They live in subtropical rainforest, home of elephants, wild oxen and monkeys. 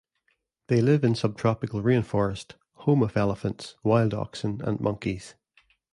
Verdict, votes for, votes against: accepted, 2, 0